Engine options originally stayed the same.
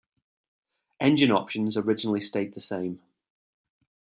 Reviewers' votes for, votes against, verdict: 1, 2, rejected